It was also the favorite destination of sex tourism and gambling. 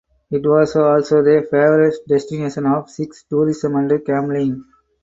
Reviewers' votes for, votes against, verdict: 4, 0, accepted